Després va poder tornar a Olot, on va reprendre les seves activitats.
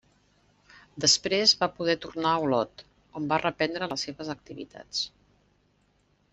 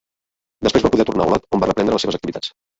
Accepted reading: first